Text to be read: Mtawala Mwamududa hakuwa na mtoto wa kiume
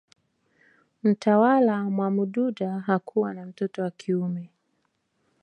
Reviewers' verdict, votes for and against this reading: accepted, 4, 1